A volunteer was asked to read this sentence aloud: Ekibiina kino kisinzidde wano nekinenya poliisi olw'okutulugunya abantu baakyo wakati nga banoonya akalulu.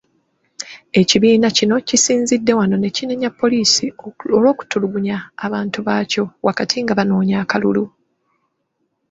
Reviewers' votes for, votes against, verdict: 2, 3, rejected